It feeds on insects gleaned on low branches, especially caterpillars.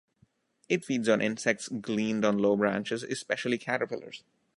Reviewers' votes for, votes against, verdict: 2, 0, accepted